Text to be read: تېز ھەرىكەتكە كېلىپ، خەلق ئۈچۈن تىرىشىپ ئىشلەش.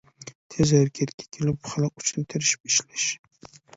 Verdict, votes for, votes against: rejected, 1, 2